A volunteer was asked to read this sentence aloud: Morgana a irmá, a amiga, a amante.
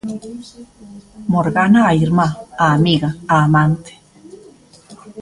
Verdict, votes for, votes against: accepted, 2, 0